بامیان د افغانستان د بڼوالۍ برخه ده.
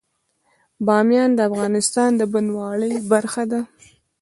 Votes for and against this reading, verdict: 0, 2, rejected